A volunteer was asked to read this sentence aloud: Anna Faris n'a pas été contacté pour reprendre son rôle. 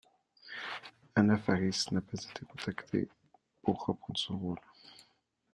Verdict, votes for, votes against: accepted, 2, 1